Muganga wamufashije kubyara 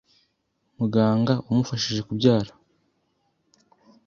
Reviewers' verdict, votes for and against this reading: accepted, 2, 0